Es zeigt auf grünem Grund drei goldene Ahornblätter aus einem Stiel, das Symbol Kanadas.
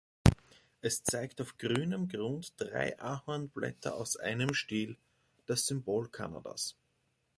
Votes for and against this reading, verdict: 0, 2, rejected